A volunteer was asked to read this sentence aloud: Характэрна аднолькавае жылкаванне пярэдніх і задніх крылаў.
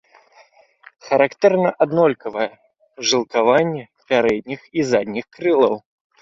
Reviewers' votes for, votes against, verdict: 2, 0, accepted